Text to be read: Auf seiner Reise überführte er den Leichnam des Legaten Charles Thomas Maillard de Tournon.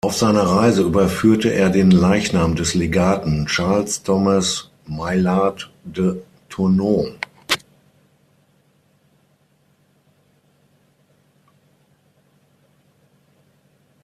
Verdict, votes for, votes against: accepted, 6, 0